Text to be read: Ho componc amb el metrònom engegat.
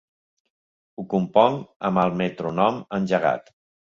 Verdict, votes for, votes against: rejected, 2, 3